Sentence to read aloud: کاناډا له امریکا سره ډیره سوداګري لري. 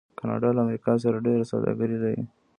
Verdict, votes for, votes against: rejected, 0, 2